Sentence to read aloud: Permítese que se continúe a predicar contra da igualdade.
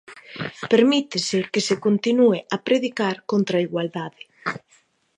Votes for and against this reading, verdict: 11, 15, rejected